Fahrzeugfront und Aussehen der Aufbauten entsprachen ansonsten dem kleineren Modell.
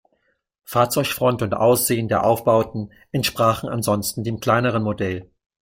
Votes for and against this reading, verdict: 2, 0, accepted